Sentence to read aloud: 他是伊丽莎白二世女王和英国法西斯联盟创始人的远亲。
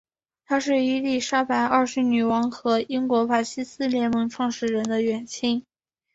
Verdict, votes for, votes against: accepted, 3, 2